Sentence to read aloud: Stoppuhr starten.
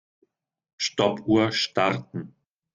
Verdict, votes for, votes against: accepted, 2, 0